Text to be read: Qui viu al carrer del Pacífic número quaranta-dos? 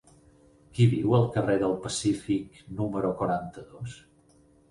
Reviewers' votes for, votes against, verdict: 12, 2, accepted